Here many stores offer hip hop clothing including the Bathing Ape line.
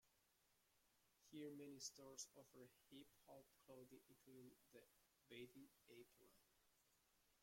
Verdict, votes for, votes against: rejected, 0, 2